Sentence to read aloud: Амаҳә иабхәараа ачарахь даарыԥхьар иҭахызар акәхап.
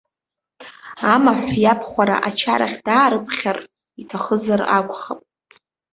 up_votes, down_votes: 1, 2